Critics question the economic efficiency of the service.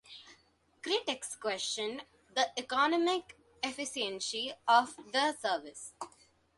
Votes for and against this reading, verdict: 2, 1, accepted